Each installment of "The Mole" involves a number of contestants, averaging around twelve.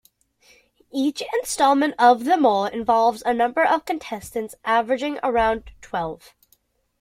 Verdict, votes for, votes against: accepted, 2, 0